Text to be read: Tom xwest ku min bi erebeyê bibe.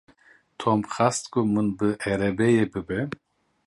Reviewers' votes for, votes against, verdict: 0, 2, rejected